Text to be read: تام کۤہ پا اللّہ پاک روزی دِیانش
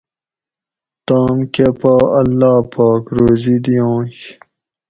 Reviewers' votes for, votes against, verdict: 2, 0, accepted